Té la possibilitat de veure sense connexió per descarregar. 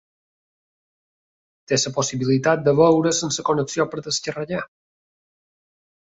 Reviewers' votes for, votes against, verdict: 0, 3, rejected